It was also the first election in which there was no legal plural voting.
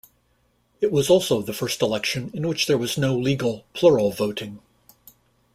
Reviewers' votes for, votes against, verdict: 2, 0, accepted